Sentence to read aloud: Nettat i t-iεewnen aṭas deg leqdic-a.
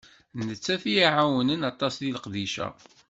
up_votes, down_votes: 1, 2